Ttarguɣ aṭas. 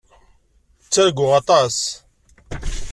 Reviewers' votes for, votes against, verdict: 2, 0, accepted